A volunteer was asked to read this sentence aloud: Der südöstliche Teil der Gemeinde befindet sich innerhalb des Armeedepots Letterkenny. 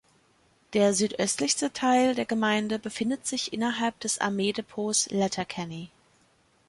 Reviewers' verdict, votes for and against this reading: rejected, 0, 2